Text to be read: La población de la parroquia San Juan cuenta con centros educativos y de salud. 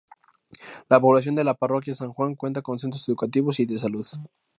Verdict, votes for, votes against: accepted, 4, 0